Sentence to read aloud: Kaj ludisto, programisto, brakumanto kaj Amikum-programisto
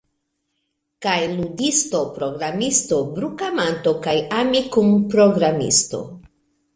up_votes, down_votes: 1, 2